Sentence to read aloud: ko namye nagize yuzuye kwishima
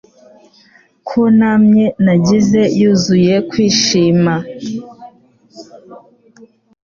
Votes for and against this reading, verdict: 3, 0, accepted